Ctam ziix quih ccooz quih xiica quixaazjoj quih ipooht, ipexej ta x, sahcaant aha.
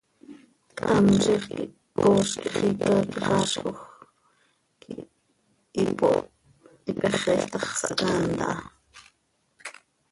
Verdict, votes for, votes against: rejected, 0, 2